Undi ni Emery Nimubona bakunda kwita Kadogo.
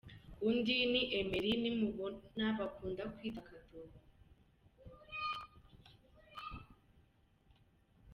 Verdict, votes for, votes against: rejected, 0, 2